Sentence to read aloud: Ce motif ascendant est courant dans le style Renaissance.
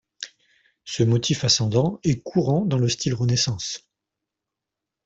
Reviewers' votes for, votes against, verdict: 3, 0, accepted